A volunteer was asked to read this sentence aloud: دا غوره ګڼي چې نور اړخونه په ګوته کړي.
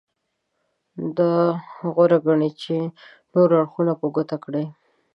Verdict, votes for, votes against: accepted, 2, 0